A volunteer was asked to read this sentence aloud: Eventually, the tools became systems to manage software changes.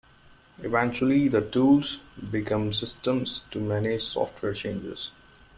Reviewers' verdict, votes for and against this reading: rejected, 0, 2